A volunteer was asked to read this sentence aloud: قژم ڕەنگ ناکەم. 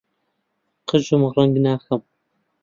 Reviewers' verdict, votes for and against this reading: accepted, 2, 0